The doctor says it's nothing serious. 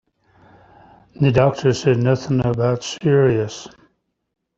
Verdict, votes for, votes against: rejected, 1, 2